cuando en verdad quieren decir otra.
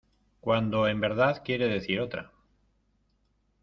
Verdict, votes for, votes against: rejected, 0, 2